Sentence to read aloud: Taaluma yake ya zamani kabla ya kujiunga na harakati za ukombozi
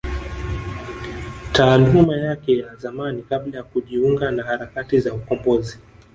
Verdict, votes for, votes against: accepted, 3, 2